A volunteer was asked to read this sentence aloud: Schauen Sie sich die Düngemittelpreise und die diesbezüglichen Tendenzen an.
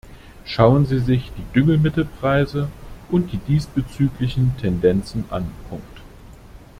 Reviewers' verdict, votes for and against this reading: rejected, 1, 2